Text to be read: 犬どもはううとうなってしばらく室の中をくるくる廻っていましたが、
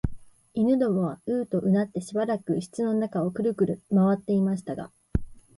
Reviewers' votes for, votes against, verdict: 2, 0, accepted